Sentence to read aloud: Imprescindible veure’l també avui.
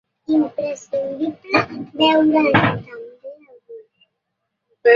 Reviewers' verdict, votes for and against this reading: rejected, 0, 2